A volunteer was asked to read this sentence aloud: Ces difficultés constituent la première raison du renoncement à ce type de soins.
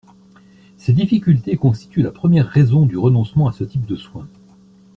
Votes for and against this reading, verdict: 2, 0, accepted